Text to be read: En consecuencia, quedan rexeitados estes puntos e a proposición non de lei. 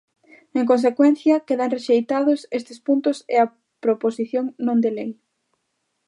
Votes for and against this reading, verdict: 2, 0, accepted